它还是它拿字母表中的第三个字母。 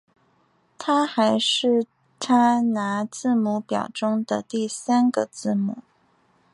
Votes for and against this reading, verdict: 2, 0, accepted